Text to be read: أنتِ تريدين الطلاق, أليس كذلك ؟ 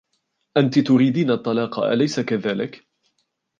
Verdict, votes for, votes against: accepted, 2, 0